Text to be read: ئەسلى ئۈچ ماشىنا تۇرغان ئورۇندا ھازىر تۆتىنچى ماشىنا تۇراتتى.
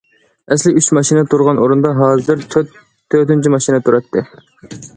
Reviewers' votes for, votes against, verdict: 1, 2, rejected